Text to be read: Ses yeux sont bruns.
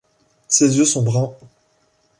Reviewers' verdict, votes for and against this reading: accepted, 2, 1